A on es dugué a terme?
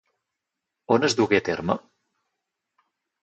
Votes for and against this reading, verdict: 0, 4, rejected